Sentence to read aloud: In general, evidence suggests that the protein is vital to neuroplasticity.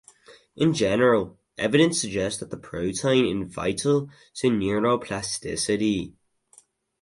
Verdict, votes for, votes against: rejected, 0, 2